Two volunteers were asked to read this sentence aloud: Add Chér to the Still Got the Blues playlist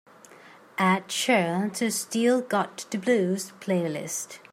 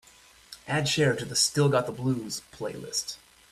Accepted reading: first